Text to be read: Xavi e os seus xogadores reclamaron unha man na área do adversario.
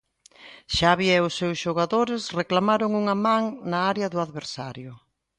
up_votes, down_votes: 2, 0